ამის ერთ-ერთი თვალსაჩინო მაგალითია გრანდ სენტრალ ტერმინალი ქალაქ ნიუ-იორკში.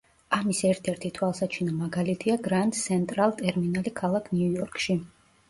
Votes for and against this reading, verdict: 2, 0, accepted